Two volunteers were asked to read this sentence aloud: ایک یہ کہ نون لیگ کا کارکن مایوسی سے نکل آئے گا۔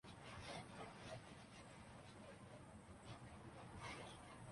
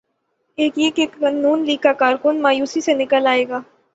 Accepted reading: second